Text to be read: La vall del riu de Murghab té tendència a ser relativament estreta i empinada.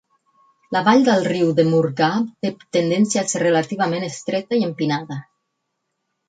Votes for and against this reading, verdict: 8, 4, accepted